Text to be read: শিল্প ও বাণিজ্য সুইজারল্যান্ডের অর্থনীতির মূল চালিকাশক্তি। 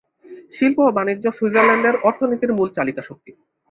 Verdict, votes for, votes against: accepted, 2, 0